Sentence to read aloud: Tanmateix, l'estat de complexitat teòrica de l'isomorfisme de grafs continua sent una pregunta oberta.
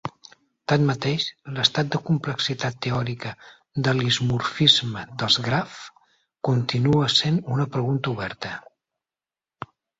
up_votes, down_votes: 0, 4